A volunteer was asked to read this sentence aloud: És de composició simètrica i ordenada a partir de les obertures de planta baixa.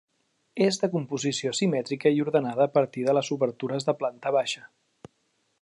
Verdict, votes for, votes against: accepted, 3, 0